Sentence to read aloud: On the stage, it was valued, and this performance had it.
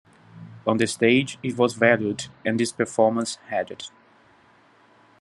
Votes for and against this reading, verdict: 2, 0, accepted